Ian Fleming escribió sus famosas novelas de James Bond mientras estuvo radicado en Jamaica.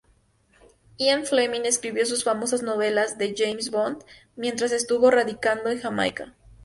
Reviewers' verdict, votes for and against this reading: rejected, 0, 2